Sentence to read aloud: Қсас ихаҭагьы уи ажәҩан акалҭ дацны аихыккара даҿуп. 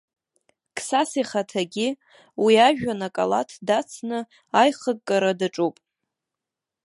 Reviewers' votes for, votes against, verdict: 1, 2, rejected